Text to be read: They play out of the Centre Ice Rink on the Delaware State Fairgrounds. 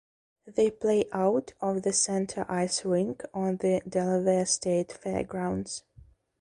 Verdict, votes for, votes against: rejected, 0, 2